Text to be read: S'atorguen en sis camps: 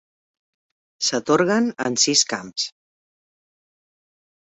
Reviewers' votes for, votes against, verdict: 2, 0, accepted